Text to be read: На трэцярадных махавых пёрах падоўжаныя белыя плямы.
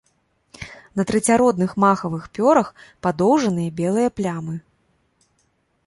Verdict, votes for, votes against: rejected, 1, 2